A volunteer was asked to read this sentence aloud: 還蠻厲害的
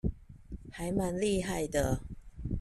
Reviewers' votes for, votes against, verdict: 2, 0, accepted